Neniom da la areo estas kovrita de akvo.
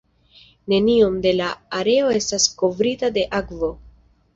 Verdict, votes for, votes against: accepted, 2, 0